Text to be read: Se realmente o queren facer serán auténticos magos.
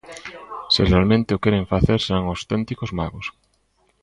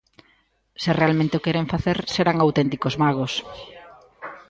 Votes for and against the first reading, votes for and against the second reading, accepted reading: 0, 2, 2, 0, second